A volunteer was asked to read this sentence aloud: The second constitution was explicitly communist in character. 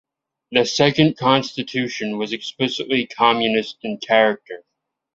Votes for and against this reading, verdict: 2, 0, accepted